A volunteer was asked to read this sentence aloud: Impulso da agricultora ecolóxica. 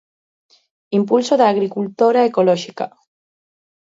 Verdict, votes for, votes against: accepted, 2, 0